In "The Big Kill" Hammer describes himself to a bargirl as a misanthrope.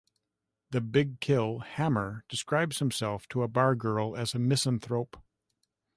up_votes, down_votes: 1, 2